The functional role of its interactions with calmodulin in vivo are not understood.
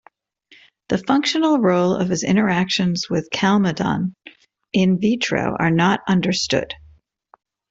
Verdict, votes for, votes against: rejected, 0, 2